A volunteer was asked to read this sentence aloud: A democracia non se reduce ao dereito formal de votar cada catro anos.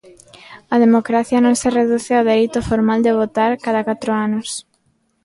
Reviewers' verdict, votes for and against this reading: accepted, 2, 1